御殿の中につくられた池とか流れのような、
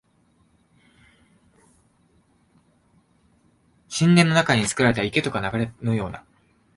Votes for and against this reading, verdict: 1, 2, rejected